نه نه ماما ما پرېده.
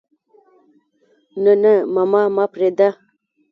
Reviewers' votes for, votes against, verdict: 2, 1, accepted